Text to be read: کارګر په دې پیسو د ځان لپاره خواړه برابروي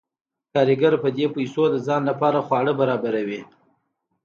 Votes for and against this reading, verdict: 2, 0, accepted